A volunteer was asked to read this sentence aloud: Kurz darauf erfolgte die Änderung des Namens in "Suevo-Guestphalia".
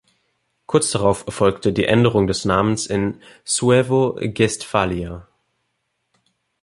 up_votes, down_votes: 2, 0